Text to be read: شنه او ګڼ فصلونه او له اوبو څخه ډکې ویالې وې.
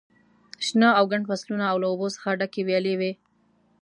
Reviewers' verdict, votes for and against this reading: accepted, 2, 0